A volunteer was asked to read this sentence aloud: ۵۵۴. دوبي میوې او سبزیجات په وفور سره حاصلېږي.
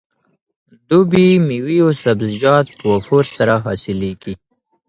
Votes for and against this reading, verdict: 0, 2, rejected